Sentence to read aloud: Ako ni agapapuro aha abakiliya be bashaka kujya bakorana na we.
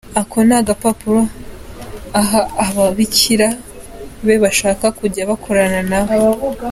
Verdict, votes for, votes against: accepted, 2, 0